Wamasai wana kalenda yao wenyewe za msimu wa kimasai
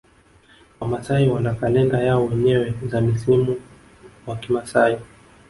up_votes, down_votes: 0, 2